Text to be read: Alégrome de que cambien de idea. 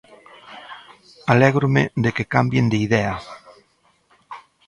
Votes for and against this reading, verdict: 2, 0, accepted